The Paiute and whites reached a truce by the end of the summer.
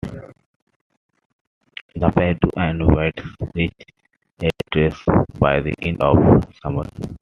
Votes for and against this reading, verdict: 0, 2, rejected